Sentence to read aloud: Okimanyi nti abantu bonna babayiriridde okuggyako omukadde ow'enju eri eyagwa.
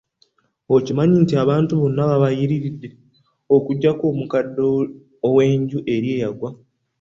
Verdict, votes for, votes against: accepted, 3, 0